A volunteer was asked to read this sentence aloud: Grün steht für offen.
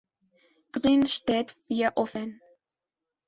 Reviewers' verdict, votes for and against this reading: accepted, 2, 0